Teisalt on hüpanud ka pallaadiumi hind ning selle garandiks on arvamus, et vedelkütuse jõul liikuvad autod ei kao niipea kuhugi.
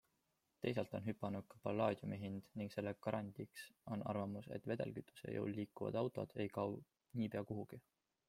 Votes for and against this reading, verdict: 2, 0, accepted